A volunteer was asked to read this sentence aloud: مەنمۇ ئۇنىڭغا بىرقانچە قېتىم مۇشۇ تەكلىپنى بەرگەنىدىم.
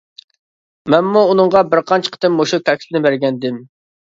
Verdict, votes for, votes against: accepted, 2, 0